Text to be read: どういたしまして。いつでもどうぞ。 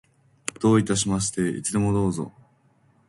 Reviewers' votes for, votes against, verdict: 2, 0, accepted